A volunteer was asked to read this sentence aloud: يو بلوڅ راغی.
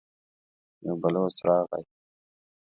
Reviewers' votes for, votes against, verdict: 2, 0, accepted